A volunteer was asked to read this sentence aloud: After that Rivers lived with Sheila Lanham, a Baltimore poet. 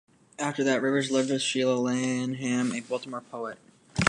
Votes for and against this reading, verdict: 2, 1, accepted